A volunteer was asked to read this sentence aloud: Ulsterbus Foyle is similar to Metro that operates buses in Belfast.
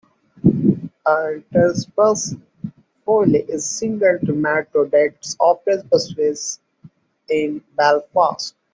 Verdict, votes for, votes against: rejected, 0, 2